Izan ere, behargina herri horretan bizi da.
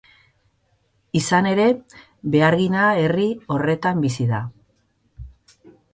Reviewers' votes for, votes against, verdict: 2, 0, accepted